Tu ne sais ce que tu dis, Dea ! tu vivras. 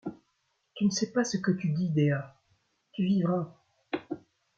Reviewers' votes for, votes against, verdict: 0, 2, rejected